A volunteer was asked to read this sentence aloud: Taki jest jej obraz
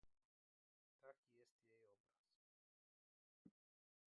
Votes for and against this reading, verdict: 0, 2, rejected